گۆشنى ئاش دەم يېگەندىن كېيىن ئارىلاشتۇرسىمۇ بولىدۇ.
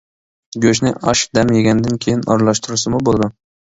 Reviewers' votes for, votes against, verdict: 2, 0, accepted